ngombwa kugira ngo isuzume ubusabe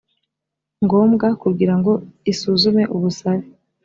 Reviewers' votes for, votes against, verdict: 3, 0, accepted